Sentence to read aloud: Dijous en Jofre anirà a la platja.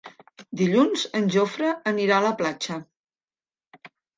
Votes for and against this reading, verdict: 0, 2, rejected